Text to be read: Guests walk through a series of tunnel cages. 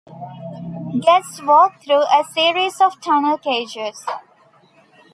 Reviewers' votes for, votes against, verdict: 1, 2, rejected